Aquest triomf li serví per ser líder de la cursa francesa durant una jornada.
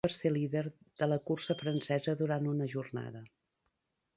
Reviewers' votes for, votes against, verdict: 0, 2, rejected